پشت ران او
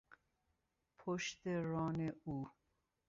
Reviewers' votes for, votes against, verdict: 2, 0, accepted